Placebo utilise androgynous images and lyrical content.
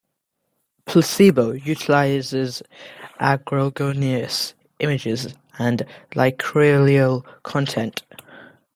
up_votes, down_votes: 0, 2